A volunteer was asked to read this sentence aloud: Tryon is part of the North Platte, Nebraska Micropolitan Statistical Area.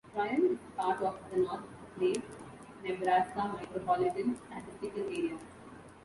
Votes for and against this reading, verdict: 1, 2, rejected